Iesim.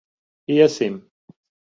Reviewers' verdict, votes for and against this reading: accepted, 2, 0